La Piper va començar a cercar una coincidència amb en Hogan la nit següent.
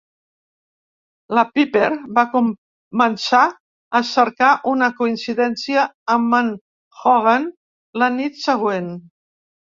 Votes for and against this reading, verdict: 1, 2, rejected